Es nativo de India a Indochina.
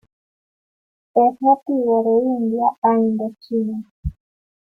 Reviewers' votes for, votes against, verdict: 2, 1, accepted